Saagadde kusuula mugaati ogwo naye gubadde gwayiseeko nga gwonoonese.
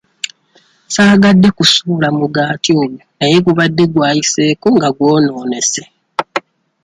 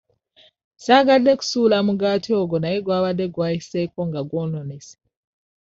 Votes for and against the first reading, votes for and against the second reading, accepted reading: 2, 0, 1, 2, first